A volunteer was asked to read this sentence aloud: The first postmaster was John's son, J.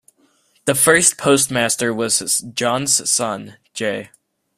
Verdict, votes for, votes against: rejected, 0, 2